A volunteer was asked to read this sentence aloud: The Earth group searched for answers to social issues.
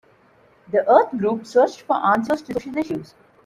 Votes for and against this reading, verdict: 0, 2, rejected